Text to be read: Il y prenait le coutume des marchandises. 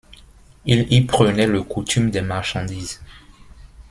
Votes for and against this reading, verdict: 2, 0, accepted